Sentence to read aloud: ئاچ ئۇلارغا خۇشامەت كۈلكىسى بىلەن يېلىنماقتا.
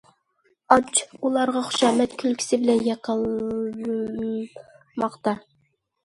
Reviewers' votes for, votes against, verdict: 0, 2, rejected